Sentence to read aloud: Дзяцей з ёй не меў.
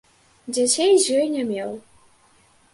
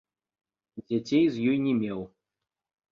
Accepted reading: first